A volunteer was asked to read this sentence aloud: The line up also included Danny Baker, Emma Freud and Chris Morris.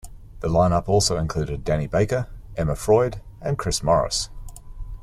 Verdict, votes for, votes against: accepted, 2, 0